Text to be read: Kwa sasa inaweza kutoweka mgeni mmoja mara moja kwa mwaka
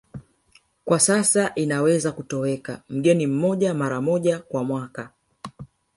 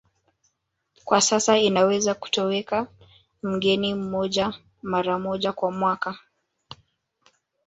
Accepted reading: first